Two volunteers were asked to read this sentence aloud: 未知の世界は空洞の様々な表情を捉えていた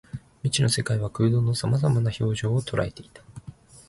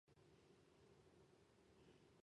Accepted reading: first